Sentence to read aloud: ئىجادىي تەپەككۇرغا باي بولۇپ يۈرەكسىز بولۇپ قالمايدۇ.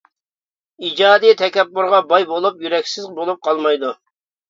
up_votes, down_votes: 0, 2